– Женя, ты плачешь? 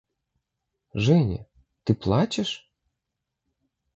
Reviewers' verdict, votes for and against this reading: accepted, 2, 0